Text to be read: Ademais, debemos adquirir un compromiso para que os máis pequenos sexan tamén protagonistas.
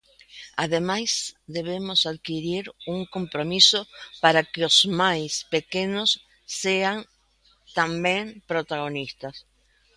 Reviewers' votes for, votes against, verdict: 0, 2, rejected